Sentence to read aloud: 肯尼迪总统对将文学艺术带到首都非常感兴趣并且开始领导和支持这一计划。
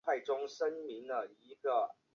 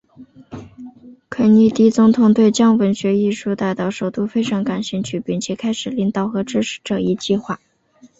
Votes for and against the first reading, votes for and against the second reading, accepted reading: 0, 2, 2, 0, second